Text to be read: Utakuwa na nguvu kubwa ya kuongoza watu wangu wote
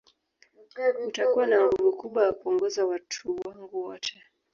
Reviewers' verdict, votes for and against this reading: rejected, 1, 2